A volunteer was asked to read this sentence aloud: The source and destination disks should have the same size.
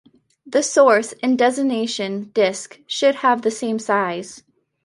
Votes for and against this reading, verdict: 1, 2, rejected